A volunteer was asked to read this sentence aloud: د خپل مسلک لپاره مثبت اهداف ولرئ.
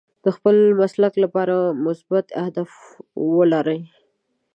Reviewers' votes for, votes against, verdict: 2, 3, rejected